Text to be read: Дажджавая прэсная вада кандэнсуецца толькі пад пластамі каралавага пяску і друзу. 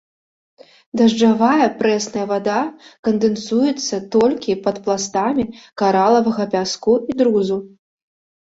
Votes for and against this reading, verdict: 2, 0, accepted